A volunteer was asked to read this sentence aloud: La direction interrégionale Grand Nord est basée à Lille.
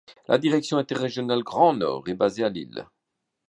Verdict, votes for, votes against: accepted, 2, 0